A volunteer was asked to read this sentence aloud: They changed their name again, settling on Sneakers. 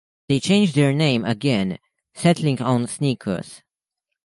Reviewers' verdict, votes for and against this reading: accepted, 2, 0